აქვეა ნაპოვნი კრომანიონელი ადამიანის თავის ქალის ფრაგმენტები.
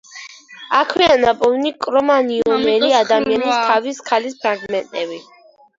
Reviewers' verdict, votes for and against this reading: rejected, 0, 2